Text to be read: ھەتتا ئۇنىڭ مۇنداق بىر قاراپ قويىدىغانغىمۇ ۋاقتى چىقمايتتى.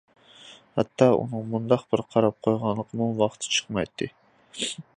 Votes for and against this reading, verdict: 0, 2, rejected